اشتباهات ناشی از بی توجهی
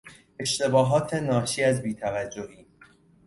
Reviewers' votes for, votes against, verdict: 2, 0, accepted